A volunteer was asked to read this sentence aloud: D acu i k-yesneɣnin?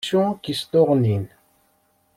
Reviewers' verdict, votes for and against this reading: rejected, 1, 2